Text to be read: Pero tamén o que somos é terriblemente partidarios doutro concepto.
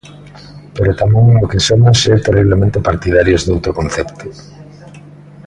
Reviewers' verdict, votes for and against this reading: rejected, 0, 2